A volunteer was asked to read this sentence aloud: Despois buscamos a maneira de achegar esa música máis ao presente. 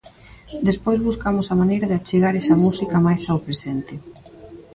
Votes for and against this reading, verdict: 2, 1, accepted